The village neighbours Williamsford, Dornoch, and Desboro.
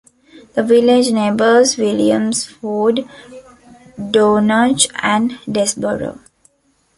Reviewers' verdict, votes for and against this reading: accepted, 2, 0